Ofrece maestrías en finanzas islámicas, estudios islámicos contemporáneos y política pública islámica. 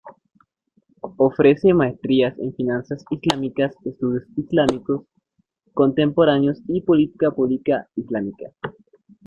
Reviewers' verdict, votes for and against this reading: accepted, 2, 1